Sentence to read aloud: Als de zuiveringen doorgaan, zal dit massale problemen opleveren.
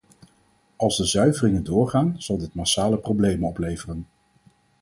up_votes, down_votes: 4, 0